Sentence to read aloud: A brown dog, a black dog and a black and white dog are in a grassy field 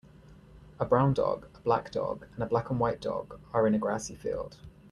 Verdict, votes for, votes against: accepted, 2, 0